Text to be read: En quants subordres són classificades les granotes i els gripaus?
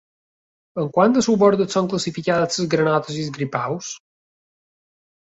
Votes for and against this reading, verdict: 0, 2, rejected